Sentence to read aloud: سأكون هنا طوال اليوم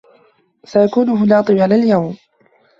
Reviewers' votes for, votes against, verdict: 2, 0, accepted